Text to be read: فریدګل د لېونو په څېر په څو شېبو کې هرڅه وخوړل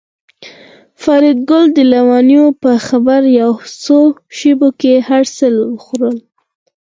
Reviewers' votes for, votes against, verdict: 2, 4, rejected